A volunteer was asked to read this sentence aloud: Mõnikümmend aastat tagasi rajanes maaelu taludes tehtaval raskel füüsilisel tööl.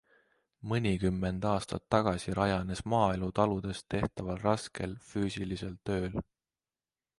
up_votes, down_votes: 2, 0